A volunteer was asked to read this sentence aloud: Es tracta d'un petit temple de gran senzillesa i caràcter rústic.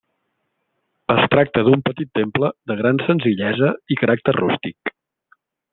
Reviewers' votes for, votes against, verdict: 3, 0, accepted